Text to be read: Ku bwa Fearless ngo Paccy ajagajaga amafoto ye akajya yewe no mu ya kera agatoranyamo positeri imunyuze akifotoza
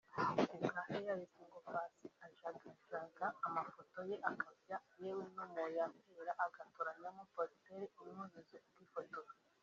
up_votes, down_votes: 3, 1